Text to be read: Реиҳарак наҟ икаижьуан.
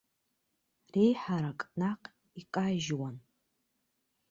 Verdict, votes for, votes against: rejected, 1, 2